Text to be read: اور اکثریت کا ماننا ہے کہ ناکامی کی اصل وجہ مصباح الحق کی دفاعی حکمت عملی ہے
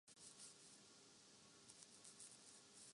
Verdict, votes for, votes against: rejected, 0, 3